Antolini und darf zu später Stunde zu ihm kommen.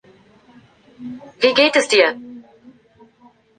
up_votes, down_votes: 0, 2